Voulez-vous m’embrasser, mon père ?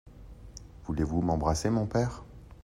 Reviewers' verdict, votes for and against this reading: accepted, 2, 0